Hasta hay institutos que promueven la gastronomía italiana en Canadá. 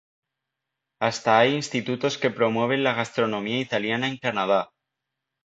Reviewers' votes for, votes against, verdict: 2, 0, accepted